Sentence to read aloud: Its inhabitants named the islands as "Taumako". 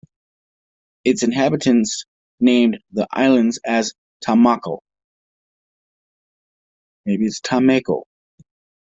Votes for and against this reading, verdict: 1, 2, rejected